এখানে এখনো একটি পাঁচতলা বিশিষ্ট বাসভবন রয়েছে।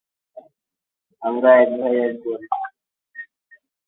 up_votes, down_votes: 0, 18